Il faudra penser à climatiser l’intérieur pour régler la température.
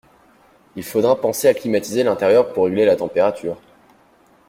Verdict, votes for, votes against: accepted, 2, 0